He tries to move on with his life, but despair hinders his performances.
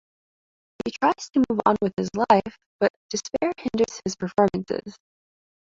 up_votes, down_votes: 2, 1